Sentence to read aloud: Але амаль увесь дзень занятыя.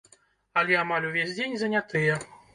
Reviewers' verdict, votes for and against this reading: rejected, 1, 2